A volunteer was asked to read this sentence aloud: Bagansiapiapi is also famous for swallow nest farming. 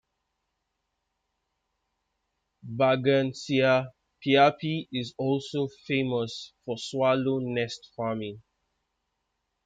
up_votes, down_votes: 1, 2